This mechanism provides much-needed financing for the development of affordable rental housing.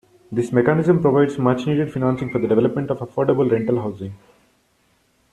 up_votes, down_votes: 1, 2